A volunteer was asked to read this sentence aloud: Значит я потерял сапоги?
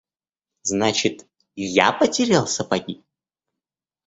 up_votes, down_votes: 2, 0